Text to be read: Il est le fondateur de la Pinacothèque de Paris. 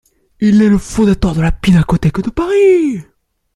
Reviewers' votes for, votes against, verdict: 1, 2, rejected